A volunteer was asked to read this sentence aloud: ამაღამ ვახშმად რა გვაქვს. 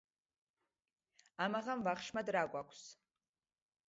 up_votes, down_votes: 2, 0